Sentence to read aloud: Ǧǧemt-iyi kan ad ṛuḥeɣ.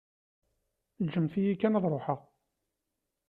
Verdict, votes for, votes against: accepted, 2, 0